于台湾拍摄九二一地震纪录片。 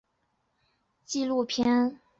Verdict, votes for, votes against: rejected, 0, 2